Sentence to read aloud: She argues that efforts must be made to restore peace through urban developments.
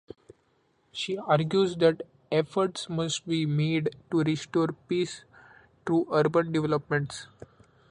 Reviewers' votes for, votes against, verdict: 2, 0, accepted